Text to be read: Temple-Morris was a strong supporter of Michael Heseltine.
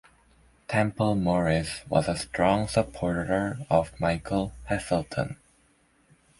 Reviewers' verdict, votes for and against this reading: accepted, 2, 1